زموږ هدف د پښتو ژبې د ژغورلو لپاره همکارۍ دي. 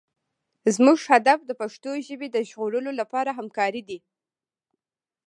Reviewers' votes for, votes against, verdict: 0, 2, rejected